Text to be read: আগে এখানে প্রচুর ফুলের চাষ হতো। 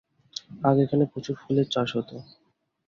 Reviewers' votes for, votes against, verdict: 4, 0, accepted